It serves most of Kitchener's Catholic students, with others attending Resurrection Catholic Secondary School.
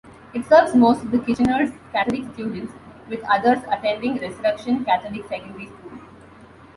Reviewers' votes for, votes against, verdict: 2, 1, accepted